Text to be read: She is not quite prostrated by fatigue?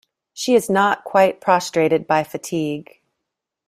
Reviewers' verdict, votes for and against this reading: accepted, 2, 0